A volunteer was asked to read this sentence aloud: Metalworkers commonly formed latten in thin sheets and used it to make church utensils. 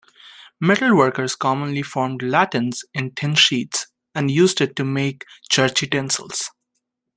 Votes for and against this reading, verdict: 0, 2, rejected